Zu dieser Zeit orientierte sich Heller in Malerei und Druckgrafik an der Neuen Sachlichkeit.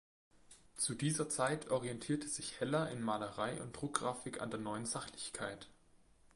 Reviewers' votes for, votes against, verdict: 2, 0, accepted